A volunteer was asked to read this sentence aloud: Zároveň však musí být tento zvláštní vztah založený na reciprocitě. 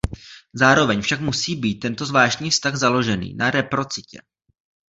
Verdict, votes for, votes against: rejected, 0, 2